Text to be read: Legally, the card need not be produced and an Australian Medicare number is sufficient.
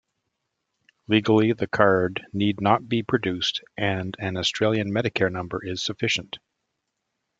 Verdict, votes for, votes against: accepted, 2, 0